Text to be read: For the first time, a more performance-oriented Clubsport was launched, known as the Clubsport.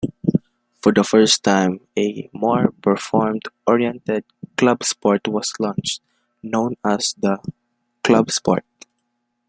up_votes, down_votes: 0, 2